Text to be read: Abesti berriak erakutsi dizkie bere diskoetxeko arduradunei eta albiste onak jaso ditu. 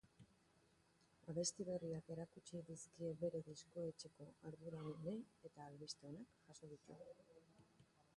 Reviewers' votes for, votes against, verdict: 1, 2, rejected